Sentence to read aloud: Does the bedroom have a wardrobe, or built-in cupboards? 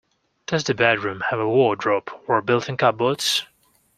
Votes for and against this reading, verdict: 2, 0, accepted